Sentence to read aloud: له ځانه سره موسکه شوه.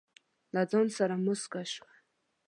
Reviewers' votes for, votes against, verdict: 1, 2, rejected